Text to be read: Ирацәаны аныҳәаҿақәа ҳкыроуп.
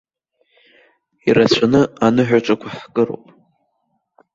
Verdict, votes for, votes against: rejected, 1, 2